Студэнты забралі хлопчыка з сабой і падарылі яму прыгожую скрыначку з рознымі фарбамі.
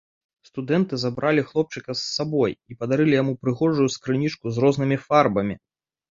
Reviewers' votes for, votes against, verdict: 1, 2, rejected